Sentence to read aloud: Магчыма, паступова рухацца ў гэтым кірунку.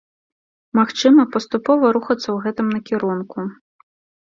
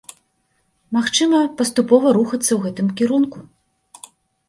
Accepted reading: second